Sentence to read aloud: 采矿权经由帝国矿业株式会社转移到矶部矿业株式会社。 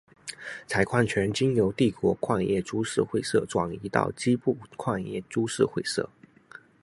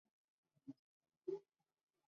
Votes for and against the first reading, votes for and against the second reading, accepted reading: 2, 0, 0, 2, first